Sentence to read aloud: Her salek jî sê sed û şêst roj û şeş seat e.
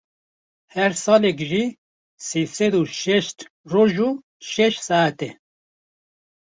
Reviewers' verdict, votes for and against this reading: accepted, 2, 0